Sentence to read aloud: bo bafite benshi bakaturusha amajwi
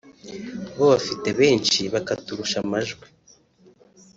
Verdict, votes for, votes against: accepted, 2, 0